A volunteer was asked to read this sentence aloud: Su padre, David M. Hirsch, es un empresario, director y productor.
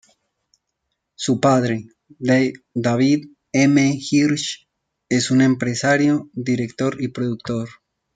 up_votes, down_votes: 0, 2